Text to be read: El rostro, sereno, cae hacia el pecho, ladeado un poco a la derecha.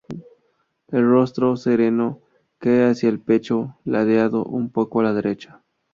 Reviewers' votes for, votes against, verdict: 0, 2, rejected